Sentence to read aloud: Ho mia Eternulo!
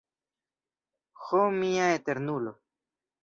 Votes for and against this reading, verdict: 2, 0, accepted